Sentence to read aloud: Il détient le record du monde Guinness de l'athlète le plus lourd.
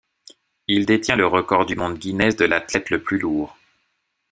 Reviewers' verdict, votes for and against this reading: accepted, 2, 0